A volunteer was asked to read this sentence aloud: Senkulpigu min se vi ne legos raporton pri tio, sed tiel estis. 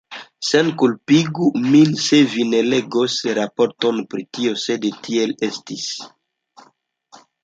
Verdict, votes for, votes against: rejected, 0, 2